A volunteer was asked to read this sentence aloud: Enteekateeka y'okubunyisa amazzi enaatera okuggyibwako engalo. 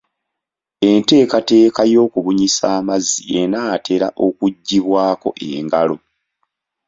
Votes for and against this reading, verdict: 2, 0, accepted